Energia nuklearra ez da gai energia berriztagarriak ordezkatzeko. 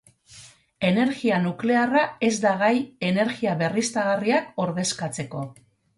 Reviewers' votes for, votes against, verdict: 2, 2, rejected